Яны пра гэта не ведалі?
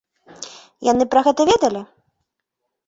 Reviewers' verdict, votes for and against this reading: rejected, 0, 2